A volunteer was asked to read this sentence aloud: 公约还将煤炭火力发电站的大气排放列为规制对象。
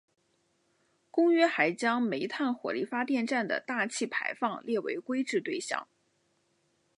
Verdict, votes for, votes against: accepted, 2, 1